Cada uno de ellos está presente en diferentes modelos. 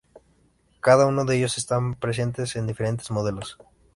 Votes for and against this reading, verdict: 0, 2, rejected